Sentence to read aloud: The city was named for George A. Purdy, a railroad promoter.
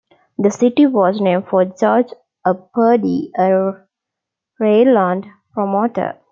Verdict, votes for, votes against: rejected, 1, 2